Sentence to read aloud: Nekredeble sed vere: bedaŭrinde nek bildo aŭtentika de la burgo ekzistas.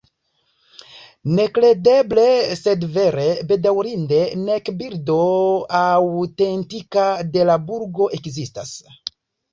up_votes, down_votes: 0, 2